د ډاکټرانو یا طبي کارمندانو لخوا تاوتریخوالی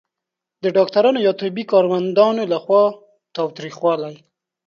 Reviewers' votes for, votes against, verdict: 3, 0, accepted